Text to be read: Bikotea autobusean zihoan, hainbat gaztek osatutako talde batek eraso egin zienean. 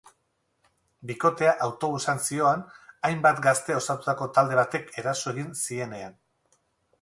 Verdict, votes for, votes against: rejected, 2, 4